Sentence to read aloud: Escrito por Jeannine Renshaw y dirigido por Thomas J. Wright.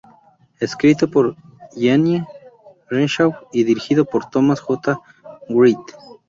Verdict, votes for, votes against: accepted, 2, 0